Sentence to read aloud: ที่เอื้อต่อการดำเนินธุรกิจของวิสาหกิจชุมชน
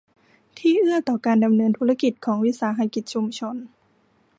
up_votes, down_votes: 2, 0